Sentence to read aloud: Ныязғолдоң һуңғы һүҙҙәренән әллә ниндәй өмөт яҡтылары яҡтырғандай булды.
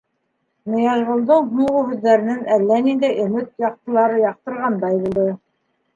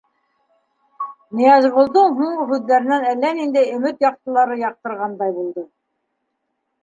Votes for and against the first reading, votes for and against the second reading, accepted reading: 3, 1, 1, 2, first